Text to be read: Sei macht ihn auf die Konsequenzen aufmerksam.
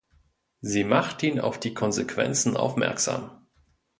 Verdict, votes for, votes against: rejected, 1, 2